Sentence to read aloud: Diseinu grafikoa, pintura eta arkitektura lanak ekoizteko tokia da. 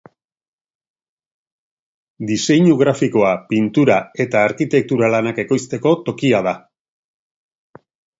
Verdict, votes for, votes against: accepted, 2, 0